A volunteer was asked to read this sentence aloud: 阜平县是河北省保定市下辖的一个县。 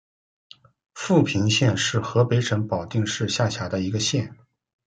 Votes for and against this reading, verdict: 2, 0, accepted